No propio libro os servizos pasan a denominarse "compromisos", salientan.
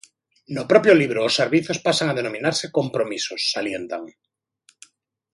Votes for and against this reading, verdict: 2, 0, accepted